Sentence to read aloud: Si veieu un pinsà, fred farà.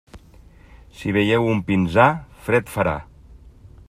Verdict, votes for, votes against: rejected, 1, 2